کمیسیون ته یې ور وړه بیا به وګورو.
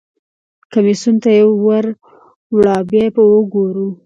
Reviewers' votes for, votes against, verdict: 3, 0, accepted